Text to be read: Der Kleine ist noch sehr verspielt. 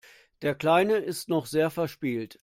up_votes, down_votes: 2, 0